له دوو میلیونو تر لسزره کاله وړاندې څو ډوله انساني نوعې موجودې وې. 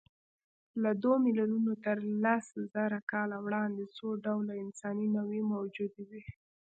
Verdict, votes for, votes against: rejected, 1, 2